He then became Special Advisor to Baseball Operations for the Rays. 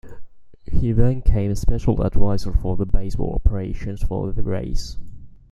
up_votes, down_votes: 0, 2